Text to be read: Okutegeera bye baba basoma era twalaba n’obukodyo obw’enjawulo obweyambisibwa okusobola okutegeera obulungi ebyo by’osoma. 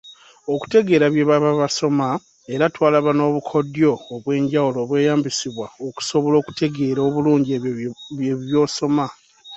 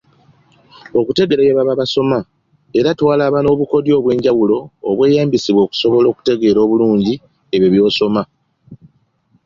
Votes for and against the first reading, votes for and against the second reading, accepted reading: 1, 2, 2, 0, second